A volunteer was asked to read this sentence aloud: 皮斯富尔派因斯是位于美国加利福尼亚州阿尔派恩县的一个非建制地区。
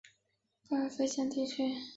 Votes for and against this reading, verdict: 0, 2, rejected